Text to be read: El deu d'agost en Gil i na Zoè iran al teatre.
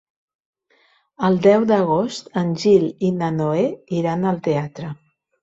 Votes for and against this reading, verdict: 0, 2, rejected